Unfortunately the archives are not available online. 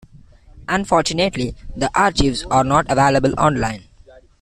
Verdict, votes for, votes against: rejected, 0, 2